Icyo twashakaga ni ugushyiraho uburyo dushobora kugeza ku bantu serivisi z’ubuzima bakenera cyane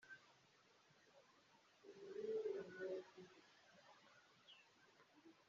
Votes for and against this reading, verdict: 0, 3, rejected